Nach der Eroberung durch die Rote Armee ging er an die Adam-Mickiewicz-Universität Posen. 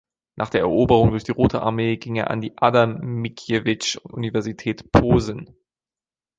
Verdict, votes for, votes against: rejected, 1, 2